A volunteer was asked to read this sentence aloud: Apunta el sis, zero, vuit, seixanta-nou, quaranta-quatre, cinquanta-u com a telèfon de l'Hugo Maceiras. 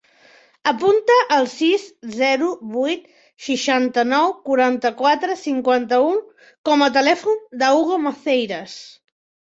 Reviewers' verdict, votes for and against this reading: accepted, 2, 0